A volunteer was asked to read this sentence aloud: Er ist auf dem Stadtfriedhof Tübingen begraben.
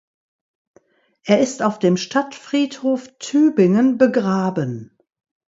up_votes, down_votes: 2, 0